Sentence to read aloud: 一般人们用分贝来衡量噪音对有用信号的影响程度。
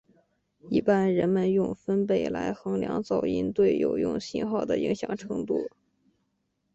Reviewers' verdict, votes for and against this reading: accepted, 3, 0